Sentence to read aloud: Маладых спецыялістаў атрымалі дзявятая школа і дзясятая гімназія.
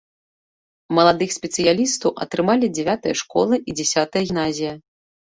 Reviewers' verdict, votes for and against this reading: rejected, 1, 2